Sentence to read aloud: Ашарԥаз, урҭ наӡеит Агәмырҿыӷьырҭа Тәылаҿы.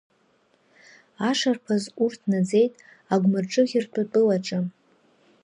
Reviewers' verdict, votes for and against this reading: accepted, 2, 0